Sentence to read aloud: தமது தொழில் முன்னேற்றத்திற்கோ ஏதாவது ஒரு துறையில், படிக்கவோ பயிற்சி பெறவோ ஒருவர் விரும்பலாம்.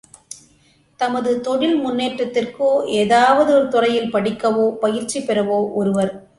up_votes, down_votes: 0, 2